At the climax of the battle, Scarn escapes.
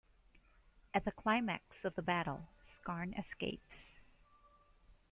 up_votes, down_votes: 2, 0